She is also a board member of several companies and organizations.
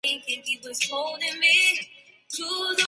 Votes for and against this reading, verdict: 0, 2, rejected